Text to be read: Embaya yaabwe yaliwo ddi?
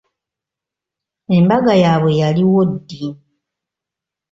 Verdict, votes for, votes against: rejected, 1, 2